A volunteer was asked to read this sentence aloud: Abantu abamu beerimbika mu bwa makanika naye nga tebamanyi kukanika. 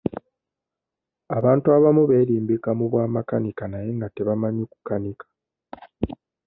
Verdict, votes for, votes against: accepted, 2, 0